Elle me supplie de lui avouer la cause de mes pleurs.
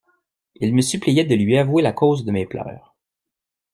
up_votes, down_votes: 1, 2